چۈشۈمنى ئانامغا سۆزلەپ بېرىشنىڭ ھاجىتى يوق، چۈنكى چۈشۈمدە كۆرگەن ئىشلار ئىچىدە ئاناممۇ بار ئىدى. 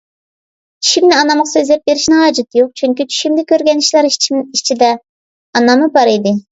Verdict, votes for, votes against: rejected, 1, 2